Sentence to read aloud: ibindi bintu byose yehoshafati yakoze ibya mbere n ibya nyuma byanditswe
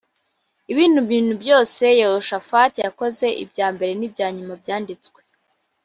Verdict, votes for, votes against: rejected, 1, 2